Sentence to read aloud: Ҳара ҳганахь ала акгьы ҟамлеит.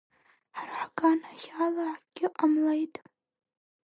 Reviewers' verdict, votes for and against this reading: rejected, 3, 5